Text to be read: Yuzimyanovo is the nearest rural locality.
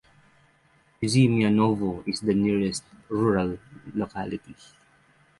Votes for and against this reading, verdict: 6, 0, accepted